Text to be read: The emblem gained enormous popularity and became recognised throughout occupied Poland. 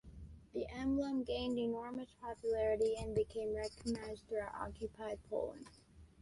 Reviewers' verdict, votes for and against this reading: rejected, 0, 2